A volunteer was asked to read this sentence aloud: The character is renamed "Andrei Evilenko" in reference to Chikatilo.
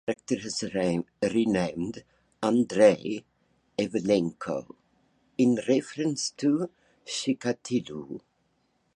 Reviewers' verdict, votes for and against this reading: rejected, 1, 2